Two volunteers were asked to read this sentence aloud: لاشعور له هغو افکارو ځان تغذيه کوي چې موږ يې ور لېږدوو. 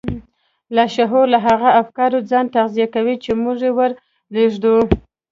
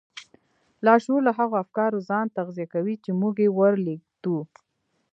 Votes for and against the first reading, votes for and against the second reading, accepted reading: 1, 2, 2, 1, second